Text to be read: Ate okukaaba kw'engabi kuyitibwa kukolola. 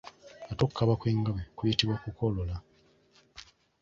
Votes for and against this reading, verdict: 1, 2, rejected